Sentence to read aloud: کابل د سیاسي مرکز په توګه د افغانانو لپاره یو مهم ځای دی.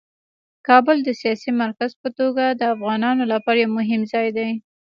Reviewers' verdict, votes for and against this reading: rejected, 1, 2